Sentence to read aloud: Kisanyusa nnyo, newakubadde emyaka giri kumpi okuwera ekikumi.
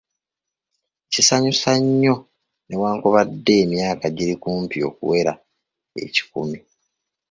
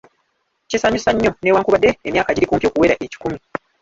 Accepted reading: first